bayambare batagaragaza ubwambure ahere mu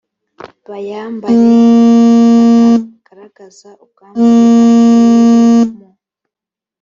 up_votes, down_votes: 2, 3